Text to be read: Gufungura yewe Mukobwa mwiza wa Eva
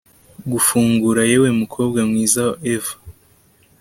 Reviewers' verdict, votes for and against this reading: rejected, 1, 2